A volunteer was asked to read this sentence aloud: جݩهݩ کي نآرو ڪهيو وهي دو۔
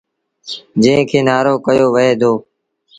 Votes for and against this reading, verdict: 2, 0, accepted